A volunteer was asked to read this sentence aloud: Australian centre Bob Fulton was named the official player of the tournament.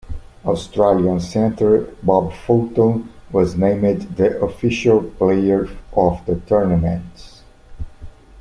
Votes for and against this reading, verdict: 0, 2, rejected